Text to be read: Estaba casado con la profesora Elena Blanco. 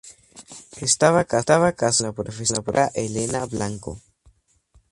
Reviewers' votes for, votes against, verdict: 0, 2, rejected